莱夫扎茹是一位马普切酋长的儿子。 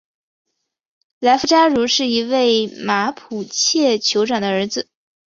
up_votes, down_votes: 2, 0